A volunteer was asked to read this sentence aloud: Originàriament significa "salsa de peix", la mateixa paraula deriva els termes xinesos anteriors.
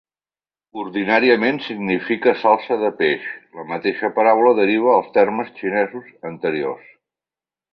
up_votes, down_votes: 0, 2